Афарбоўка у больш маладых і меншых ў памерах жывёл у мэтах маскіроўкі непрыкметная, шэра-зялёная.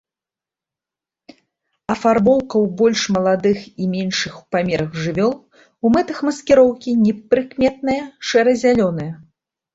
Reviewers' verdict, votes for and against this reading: accepted, 2, 0